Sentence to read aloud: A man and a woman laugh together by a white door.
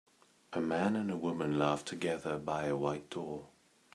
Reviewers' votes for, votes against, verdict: 2, 0, accepted